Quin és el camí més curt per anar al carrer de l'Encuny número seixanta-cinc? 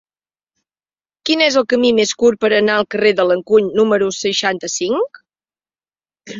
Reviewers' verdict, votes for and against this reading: accepted, 3, 0